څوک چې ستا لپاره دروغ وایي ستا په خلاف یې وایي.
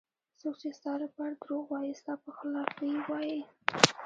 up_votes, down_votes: 1, 2